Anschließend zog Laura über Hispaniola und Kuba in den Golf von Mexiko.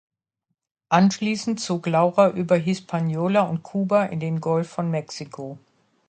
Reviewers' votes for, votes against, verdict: 2, 1, accepted